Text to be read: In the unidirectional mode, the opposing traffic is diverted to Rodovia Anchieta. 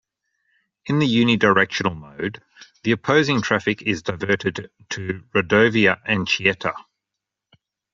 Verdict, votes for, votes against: accepted, 2, 0